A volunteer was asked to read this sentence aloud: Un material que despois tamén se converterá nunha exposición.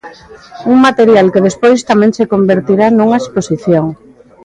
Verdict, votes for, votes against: rejected, 0, 2